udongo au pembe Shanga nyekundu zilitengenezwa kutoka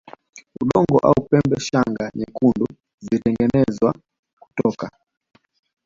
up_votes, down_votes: 1, 2